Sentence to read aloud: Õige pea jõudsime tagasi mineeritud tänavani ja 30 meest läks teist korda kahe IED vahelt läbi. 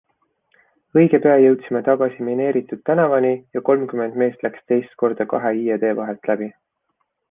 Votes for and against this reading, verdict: 0, 2, rejected